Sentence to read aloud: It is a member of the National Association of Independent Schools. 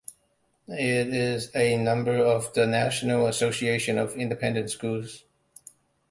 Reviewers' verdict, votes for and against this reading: accepted, 2, 0